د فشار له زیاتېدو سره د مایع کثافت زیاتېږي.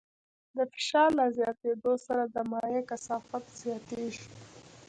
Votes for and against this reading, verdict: 2, 0, accepted